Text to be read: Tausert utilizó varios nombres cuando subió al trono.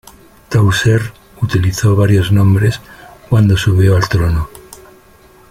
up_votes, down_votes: 2, 0